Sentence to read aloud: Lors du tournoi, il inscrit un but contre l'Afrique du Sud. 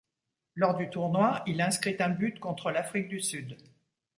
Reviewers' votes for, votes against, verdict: 2, 0, accepted